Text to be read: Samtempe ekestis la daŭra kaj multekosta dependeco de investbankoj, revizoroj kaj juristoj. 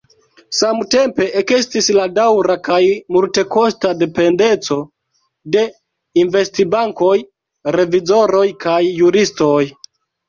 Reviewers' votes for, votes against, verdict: 2, 0, accepted